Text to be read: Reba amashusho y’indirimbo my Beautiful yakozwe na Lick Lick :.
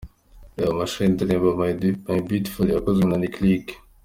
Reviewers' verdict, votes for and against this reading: accepted, 2, 0